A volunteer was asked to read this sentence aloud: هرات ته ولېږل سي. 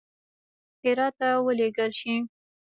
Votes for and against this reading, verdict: 0, 2, rejected